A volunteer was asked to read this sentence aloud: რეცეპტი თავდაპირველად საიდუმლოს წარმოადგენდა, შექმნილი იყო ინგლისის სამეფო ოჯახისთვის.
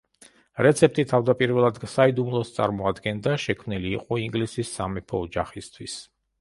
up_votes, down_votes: 3, 1